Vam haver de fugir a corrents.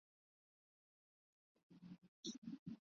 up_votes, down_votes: 0, 3